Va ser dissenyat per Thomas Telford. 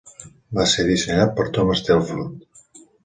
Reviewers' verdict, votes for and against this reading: accepted, 2, 0